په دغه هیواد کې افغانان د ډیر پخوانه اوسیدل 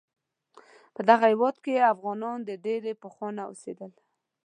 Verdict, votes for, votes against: accepted, 2, 0